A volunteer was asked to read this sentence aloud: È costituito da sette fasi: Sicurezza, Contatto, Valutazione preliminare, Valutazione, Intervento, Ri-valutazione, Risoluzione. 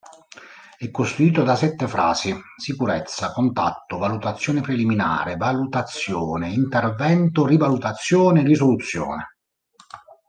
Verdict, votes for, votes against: rejected, 1, 2